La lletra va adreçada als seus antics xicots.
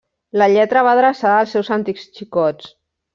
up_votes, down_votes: 1, 2